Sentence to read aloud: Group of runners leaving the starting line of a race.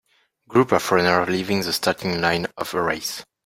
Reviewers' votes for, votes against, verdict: 3, 0, accepted